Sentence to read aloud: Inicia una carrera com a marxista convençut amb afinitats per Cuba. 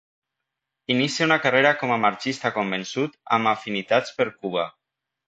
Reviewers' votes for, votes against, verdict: 2, 0, accepted